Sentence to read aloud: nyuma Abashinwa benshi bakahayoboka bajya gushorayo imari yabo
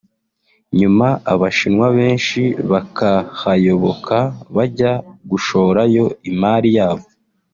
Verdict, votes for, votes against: accepted, 3, 0